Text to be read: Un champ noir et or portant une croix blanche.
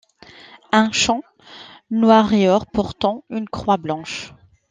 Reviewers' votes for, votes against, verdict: 2, 0, accepted